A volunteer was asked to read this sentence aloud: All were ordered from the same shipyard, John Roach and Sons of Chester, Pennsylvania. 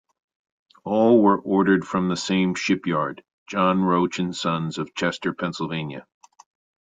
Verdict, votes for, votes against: accepted, 2, 0